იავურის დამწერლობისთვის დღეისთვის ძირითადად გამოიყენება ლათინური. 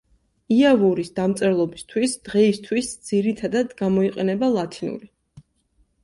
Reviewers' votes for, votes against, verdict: 2, 0, accepted